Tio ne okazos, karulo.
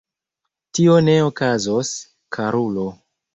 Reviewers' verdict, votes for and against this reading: rejected, 1, 2